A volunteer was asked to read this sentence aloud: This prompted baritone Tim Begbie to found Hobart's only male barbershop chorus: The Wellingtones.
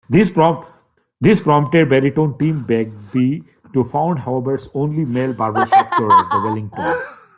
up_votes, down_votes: 0, 2